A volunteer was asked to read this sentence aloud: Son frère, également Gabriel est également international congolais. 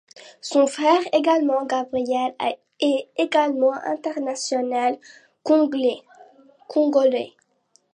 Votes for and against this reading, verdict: 0, 2, rejected